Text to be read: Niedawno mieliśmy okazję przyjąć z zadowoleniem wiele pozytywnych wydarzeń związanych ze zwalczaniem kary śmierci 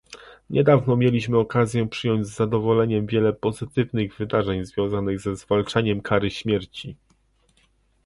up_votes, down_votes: 2, 0